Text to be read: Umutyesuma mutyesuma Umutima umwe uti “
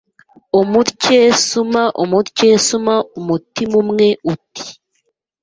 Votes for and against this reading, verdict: 2, 0, accepted